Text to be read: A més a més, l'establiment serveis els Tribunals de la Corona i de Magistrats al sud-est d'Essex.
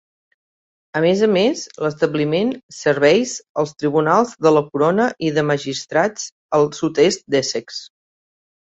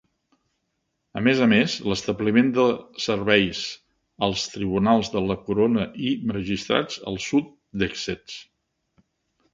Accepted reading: first